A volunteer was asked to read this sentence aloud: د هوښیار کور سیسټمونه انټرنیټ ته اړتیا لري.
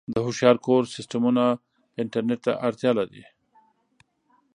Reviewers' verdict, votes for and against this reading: accepted, 2, 0